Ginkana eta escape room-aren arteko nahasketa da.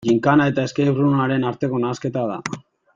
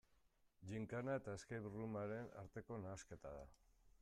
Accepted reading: first